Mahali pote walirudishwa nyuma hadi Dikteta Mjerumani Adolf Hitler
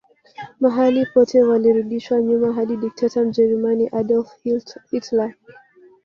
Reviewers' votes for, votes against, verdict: 1, 2, rejected